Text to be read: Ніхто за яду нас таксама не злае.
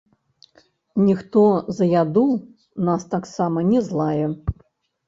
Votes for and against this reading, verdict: 0, 3, rejected